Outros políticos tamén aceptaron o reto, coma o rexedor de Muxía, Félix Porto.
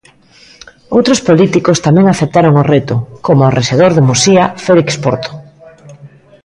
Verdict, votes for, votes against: accepted, 2, 1